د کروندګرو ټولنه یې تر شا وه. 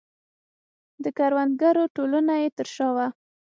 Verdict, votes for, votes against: accepted, 6, 0